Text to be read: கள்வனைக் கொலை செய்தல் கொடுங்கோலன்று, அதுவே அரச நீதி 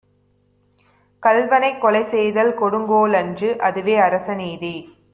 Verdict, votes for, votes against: accepted, 2, 0